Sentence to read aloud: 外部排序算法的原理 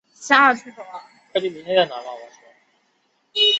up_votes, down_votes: 0, 2